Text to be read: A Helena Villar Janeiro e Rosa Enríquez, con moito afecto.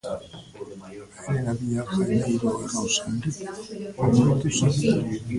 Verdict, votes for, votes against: rejected, 0, 2